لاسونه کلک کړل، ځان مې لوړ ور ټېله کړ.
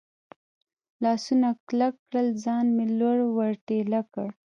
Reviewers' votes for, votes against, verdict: 0, 2, rejected